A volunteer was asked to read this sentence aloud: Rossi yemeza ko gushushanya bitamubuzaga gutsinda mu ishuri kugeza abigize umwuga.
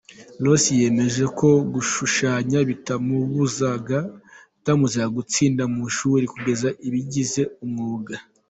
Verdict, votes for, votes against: rejected, 0, 3